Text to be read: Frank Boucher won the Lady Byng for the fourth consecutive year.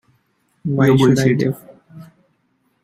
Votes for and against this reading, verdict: 0, 2, rejected